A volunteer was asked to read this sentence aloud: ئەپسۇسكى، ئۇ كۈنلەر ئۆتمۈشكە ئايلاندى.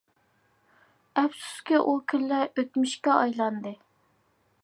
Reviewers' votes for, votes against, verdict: 2, 0, accepted